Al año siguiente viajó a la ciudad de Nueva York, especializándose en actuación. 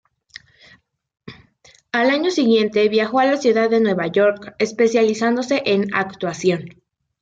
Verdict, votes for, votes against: accepted, 2, 0